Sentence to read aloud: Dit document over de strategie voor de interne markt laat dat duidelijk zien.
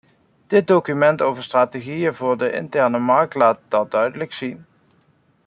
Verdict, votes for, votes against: accepted, 2, 1